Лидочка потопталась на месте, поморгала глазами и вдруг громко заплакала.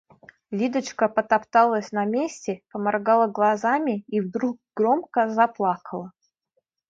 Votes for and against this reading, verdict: 2, 0, accepted